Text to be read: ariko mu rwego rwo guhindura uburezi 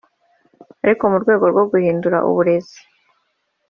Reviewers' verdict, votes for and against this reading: accepted, 3, 1